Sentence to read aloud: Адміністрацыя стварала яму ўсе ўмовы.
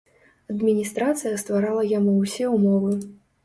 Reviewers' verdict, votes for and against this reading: accepted, 2, 0